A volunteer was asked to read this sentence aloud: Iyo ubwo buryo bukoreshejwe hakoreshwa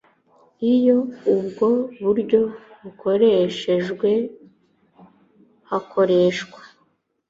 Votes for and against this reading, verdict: 2, 0, accepted